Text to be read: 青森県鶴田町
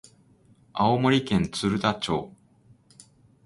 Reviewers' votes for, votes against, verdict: 0, 2, rejected